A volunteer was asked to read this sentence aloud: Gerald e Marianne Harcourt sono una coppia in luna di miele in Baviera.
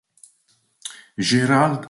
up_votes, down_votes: 0, 2